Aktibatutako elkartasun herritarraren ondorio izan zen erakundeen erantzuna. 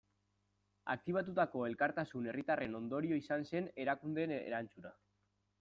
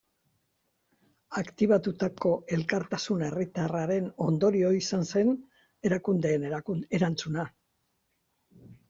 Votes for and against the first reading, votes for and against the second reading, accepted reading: 2, 0, 0, 2, first